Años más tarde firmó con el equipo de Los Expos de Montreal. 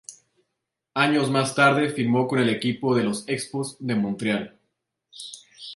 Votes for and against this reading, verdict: 0, 2, rejected